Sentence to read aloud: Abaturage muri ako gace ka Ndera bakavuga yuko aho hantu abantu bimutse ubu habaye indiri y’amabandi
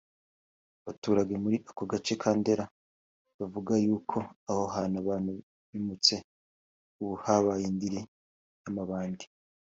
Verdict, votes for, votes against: accepted, 4, 1